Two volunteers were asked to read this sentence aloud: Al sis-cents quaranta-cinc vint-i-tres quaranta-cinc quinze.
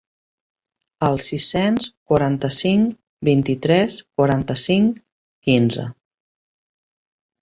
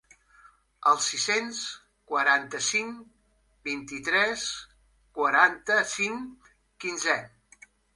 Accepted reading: first